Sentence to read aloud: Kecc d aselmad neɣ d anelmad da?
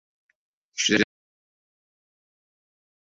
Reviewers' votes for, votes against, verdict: 0, 2, rejected